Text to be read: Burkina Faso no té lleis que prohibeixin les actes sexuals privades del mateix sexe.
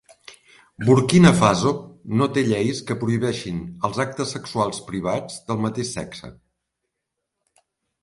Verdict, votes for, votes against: rejected, 0, 2